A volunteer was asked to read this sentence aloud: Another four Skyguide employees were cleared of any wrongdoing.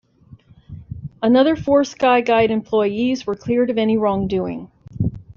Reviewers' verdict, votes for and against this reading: accepted, 2, 0